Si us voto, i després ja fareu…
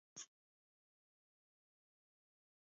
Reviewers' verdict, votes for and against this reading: rejected, 0, 2